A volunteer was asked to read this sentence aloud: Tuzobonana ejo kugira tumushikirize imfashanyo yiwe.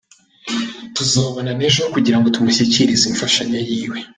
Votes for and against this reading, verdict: 2, 0, accepted